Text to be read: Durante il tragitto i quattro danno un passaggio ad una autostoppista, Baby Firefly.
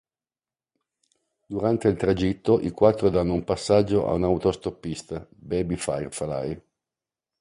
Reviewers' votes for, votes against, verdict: 1, 2, rejected